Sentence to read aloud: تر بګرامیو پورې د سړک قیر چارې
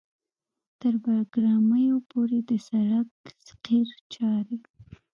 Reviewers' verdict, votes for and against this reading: rejected, 1, 2